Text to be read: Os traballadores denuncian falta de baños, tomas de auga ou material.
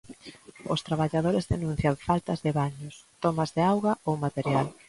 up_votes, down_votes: 0, 2